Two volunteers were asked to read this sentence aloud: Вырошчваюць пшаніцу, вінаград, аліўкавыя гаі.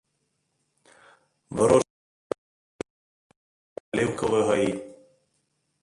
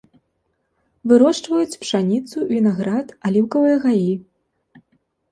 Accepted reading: second